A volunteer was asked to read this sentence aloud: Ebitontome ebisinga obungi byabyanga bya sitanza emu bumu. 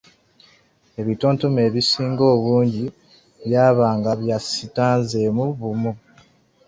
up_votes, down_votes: 1, 2